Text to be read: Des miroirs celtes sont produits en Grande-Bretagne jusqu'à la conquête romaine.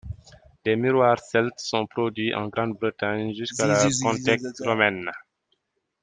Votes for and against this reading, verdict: 1, 2, rejected